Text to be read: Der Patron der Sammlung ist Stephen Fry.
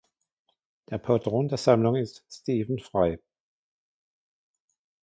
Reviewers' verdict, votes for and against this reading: rejected, 1, 2